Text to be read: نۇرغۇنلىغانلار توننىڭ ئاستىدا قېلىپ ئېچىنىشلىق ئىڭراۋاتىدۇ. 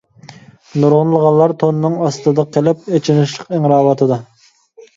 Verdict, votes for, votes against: accepted, 2, 0